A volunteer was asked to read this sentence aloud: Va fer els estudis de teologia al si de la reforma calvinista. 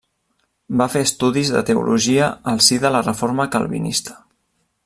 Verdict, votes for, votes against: rejected, 0, 2